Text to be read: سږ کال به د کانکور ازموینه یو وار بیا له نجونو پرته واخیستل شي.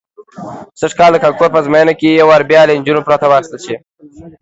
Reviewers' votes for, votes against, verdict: 2, 0, accepted